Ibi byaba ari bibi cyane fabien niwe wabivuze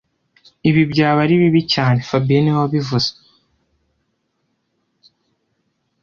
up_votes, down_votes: 2, 0